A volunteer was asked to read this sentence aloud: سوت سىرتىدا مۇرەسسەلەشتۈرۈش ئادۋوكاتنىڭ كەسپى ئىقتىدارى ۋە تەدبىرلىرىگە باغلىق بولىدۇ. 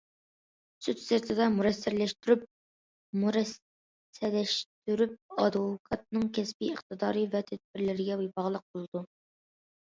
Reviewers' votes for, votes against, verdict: 0, 2, rejected